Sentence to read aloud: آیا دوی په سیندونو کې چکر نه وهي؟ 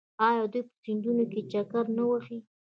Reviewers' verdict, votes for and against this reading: rejected, 1, 2